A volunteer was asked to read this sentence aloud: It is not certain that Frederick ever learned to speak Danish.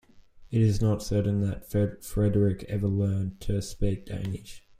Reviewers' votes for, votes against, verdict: 1, 2, rejected